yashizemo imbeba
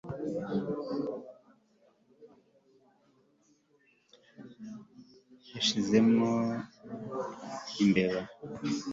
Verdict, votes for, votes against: accepted, 2, 0